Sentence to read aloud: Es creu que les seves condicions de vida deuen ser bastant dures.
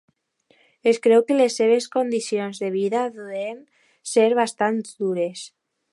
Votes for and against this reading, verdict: 0, 2, rejected